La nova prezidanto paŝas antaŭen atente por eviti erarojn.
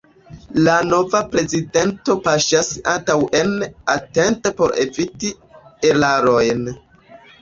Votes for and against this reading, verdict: 1, 2, rejected